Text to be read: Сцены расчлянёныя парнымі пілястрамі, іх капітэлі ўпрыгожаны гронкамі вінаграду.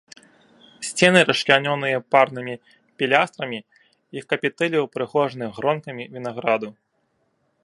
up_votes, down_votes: 2, 0